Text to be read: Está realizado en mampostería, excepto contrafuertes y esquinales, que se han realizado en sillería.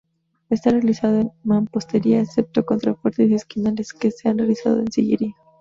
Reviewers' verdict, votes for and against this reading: accepted, 2, 0